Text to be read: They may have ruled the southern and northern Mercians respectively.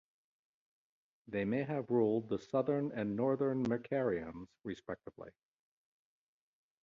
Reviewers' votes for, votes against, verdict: 2, 0, accepted